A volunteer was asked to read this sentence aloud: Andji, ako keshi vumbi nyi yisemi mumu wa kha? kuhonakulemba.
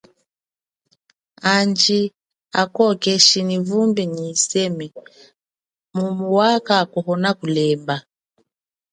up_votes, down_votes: 2, 0